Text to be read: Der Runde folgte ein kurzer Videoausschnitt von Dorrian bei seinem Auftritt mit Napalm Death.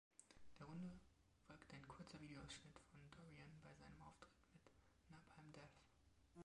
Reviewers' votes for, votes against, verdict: 1, 2, rejected